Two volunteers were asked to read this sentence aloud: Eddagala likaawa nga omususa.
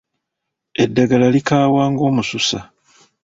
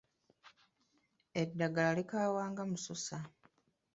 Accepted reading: first